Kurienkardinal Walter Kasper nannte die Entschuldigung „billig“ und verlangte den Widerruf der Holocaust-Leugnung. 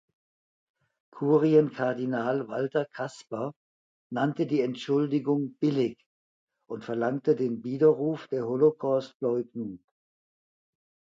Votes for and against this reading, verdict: 2, 0, accepted